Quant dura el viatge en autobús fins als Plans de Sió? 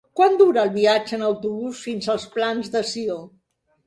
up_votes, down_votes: 3, 0